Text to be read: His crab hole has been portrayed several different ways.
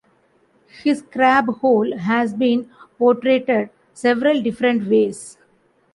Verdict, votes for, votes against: rejected, 1, 2